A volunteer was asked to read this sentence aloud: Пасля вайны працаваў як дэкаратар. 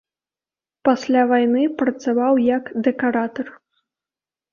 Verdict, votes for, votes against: accepted, 2, 0